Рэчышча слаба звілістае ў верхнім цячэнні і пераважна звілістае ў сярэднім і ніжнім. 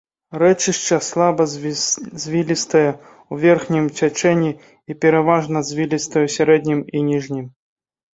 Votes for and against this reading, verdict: 0, 2, rejected